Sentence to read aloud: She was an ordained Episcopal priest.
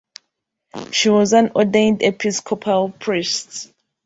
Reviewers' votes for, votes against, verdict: 2, 0, accepted